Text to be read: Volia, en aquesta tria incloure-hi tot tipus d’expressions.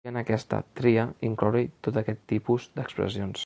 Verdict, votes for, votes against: rejected, 0, 2